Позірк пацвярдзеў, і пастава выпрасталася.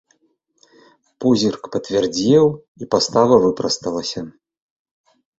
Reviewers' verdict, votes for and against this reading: rejected, 1, 3